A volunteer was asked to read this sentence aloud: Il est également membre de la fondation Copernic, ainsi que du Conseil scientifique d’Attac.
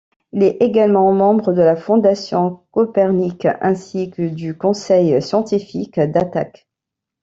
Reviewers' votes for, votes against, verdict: 1, 2, rejected